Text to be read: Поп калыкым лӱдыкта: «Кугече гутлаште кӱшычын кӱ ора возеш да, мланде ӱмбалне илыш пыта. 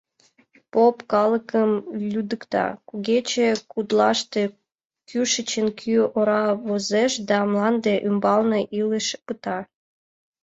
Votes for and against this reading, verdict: 2, 0, accepted